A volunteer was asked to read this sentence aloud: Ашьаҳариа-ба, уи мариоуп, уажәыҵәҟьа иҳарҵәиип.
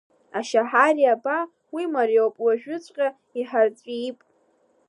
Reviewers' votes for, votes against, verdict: 2, 0, accepted